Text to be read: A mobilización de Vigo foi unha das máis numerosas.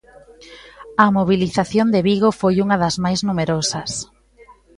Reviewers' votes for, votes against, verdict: 2, 1, accepted